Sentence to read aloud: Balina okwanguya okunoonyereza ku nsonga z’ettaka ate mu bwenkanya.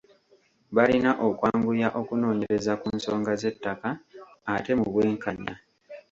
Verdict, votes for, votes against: accepted, 3, 0